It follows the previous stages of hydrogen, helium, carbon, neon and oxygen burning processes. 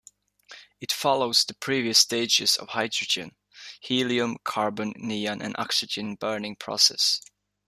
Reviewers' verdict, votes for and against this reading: accepted, 2, 1